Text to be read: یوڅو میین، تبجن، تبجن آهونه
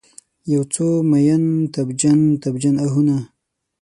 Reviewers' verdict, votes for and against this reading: accepted, 6, 0